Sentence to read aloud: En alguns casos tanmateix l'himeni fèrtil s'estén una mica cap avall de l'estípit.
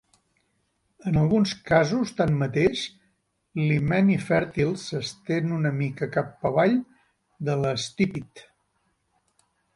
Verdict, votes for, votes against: accepted, 2, 0